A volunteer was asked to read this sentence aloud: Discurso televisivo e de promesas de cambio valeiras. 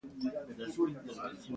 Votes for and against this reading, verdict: 0, 2, rejected